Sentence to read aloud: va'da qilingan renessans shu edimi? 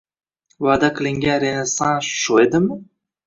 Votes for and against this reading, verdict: 1, 2, rejected